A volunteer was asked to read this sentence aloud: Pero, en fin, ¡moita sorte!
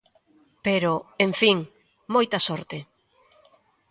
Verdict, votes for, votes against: accepted, 2, 0